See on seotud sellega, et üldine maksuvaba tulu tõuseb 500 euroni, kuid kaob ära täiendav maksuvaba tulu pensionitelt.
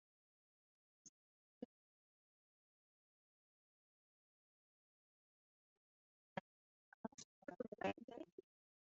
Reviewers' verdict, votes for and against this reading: rejected, 0, 2